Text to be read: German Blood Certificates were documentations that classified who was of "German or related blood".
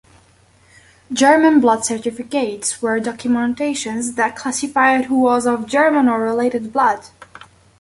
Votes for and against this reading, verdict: 3, 0, accepted